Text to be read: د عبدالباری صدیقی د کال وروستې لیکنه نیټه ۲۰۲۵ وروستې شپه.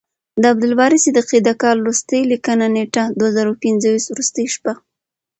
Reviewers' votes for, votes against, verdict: 0, 2, rejected